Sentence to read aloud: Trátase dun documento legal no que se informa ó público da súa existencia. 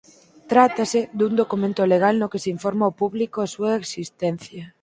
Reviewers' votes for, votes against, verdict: 2, 4, rejected